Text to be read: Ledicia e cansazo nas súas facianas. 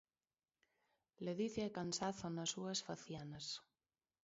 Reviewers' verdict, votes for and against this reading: rejected, 1, 2